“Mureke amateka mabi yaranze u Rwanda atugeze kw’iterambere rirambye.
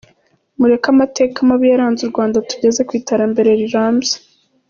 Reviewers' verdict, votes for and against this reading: accepted, 2, 0